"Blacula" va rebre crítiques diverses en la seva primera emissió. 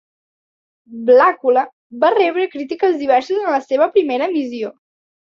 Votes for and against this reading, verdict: 2, 1, accepted